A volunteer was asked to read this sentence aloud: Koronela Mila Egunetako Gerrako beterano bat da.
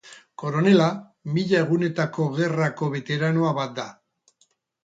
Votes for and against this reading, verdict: 0, 2, rejected